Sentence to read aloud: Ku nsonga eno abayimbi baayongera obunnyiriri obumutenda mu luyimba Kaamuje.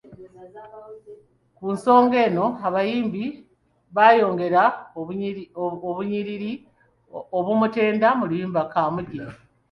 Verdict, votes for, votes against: accepted, 2, 0